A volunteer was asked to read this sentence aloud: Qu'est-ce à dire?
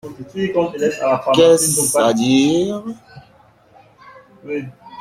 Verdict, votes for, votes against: accepted, 2, 1